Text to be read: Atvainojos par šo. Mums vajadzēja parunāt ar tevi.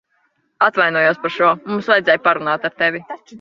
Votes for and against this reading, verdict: 0, 2, rejected